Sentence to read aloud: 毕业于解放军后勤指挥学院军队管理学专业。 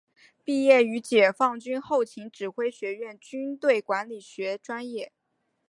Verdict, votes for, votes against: accepted, 5, 0